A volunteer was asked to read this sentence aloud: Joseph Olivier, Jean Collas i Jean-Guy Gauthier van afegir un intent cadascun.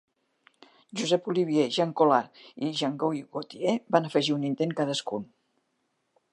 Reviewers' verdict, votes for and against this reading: rejected, 2, 3